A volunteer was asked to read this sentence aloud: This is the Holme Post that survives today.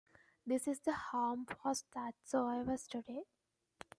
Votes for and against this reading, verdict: 1, 2, rejected